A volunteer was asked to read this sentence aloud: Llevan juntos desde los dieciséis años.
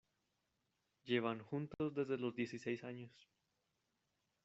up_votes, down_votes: 2, 0